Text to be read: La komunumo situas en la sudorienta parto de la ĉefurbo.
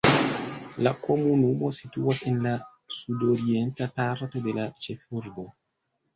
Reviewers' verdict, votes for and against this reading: accepted, 2, 1